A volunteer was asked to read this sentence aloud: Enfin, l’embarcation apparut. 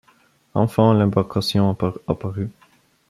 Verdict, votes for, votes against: rejected, 1, 2